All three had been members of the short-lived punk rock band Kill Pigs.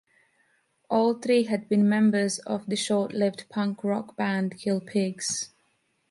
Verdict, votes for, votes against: accepted, 2, 0